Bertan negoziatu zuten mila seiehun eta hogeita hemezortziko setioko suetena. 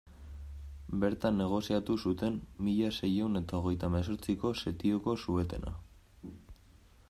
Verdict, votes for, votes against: accepted, 2, 1